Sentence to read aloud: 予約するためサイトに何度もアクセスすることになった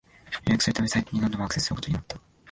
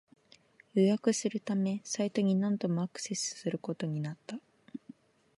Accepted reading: second